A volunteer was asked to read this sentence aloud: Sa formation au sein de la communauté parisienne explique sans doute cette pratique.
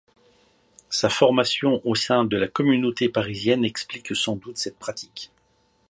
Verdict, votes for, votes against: accepted, 2, 0